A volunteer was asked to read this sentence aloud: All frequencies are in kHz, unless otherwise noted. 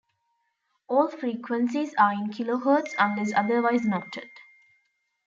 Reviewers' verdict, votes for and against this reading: accepted, 2, 1